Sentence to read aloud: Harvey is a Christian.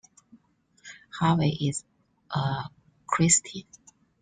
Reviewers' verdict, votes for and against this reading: accepted, 2, 1